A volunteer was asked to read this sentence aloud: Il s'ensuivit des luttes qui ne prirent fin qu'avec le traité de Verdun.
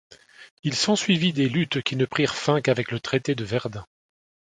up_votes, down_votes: 2, 0